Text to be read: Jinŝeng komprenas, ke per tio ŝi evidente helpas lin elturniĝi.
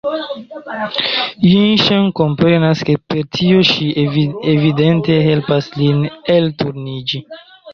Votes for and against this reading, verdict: 0, 2, rejected